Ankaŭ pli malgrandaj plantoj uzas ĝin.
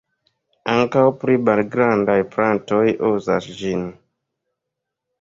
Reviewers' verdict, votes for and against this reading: accepted, 2, 0